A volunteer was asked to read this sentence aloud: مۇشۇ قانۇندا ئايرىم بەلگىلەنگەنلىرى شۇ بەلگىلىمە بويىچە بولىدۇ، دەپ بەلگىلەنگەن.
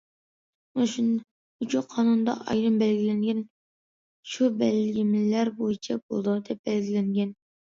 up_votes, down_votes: 0, 2